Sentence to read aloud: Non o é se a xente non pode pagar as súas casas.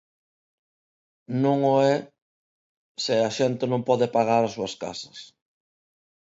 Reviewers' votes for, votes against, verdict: 2, 0, accepted